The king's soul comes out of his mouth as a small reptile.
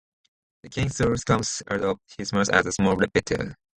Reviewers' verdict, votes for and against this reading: rejected, 0, 2